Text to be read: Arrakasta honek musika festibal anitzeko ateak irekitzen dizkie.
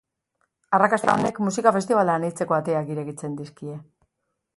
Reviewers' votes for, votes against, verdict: 2, 0, accepted